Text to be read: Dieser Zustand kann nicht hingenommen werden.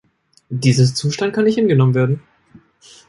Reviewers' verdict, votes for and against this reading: rejected, 1, 2